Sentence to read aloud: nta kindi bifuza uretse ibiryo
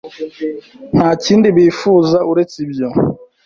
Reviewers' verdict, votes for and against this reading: rejected, 1, 2